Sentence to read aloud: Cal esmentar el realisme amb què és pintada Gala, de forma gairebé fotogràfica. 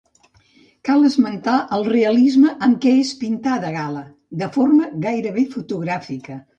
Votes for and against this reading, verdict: 2, 0, accepted